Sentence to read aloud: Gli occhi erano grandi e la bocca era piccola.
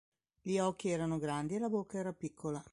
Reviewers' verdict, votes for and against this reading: accepted, 2, 0